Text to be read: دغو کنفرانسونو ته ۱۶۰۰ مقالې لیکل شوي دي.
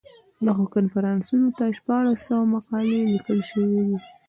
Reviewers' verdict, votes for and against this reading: rejected, 0, 2